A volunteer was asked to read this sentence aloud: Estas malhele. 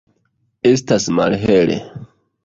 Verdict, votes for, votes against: rejected, 1, 2